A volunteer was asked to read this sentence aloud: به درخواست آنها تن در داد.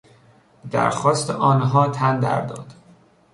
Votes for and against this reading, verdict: 0, 2, rejected